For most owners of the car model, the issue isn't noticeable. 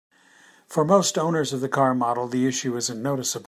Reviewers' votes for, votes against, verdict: 0, 2, rejected